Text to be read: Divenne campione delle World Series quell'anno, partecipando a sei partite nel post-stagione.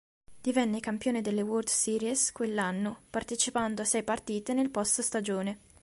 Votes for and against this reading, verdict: 2, 0, accepted